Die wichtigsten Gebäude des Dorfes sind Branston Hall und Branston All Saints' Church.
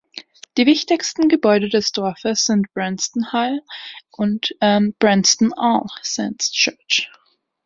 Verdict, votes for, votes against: rejected, 2, 3